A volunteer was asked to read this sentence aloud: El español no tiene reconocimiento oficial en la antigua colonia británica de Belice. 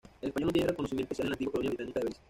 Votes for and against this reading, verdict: 1, 2, rejected